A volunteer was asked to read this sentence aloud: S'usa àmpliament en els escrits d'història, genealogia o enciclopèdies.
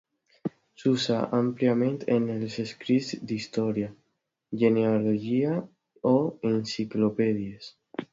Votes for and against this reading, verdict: 2, 0, accepted